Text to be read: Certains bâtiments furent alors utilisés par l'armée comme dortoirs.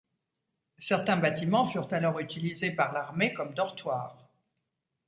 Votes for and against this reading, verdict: 2, 0, accepted